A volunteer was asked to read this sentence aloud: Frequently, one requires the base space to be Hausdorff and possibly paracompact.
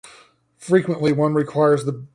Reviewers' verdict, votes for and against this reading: rejected, 0, 2